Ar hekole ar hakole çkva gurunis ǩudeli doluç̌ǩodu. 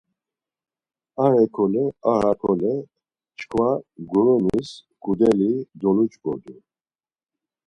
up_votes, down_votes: 4, 0